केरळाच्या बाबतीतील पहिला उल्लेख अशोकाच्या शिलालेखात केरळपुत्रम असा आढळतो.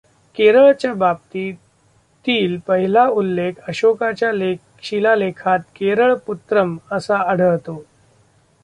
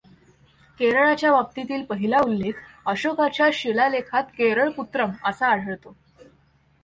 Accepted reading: second